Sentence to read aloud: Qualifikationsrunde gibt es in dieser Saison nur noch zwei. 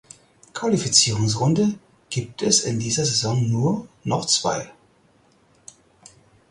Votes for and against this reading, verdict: 2, 4, rejected